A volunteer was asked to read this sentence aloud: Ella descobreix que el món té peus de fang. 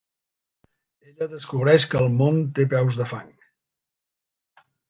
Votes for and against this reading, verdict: 1, 2, rejected